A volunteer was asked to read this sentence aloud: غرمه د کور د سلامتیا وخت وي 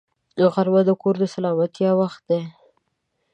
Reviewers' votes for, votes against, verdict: 0, 2, rejected